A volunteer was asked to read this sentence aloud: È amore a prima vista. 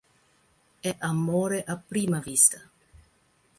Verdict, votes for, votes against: accepted, 2, 0